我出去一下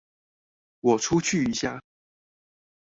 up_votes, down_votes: 4, 0